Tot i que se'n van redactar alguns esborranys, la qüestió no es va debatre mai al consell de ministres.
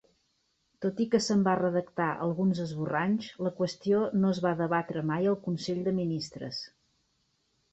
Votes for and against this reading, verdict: 4, 0, accepted